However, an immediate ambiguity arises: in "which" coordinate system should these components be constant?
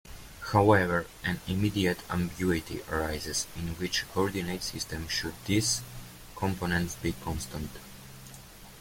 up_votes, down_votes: 2, 0